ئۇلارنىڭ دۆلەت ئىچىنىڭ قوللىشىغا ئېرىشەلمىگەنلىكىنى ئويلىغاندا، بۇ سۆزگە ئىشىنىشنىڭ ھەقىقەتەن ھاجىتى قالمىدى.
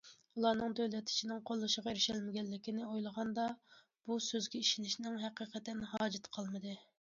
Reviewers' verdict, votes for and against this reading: accepted, 2, 0